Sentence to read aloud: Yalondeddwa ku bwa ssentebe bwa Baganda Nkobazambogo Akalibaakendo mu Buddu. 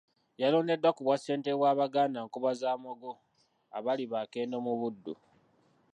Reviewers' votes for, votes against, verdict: 0, 2, rejected